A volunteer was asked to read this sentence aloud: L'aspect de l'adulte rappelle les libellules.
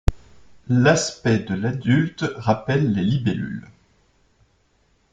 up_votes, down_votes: 2, 0